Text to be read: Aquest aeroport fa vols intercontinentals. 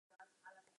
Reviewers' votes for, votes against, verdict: 2, 2, rejected